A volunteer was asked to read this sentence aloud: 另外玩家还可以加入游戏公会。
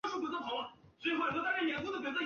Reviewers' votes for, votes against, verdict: 1, 2, rejected